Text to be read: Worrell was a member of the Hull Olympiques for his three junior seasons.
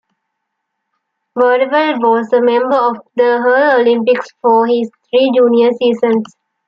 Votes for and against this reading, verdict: 1, 2, rejected